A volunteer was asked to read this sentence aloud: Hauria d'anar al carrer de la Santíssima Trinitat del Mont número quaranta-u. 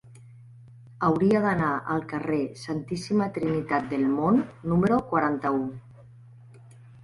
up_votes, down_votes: 1, 2